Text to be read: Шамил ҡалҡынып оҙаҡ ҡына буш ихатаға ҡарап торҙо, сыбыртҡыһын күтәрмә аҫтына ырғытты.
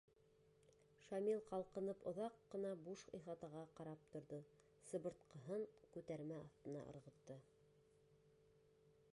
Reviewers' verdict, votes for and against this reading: accepted, 2, 1